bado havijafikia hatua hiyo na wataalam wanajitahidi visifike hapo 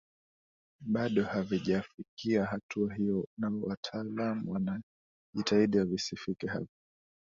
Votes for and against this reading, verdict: 2, 1, accepted